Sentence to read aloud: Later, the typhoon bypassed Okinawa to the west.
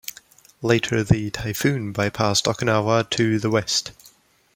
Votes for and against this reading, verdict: 2, 0, accepted